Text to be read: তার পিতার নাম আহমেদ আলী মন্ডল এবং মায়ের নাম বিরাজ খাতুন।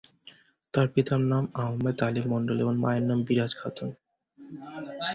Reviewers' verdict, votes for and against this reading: accepted, 4, 2